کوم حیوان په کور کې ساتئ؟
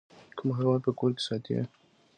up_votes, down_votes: 2, 0